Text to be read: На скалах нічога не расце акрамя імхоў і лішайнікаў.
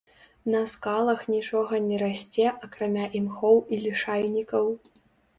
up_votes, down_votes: 2, 0